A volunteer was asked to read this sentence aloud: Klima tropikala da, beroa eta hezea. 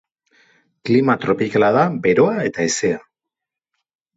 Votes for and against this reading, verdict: 2, 0, accepted